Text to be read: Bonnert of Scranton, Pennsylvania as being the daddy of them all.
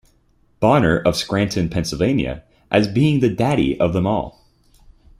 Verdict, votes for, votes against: accepted, 2, 0